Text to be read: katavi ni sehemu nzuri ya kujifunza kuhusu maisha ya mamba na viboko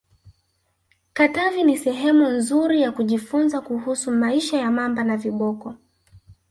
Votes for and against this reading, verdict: 1, 2, rejected